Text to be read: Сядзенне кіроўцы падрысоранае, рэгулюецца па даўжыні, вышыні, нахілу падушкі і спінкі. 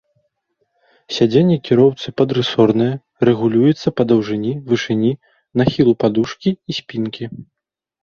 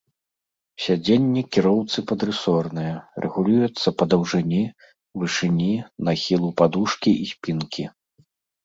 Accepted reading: first